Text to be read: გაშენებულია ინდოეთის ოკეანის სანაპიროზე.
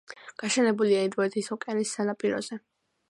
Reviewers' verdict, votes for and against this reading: accepted, 2, 0